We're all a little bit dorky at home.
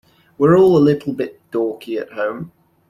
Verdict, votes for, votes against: accepted, 2, 0